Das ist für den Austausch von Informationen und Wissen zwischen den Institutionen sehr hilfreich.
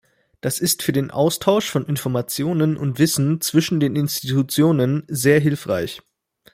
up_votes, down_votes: 2, 0